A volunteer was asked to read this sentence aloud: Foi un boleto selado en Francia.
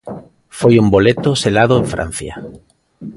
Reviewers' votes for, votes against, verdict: 2, 0, accepted